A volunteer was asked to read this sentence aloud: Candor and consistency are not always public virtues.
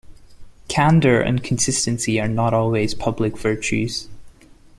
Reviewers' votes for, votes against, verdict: 2, 0, accepted